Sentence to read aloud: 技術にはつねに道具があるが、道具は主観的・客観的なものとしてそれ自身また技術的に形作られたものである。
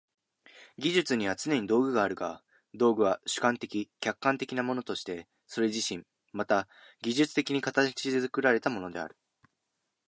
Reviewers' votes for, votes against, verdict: 1, 2, rejected